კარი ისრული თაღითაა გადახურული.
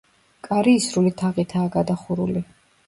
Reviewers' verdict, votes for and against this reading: accepted, 2, 0